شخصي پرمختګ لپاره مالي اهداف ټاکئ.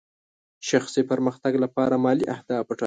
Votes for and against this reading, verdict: 0, 2, rejected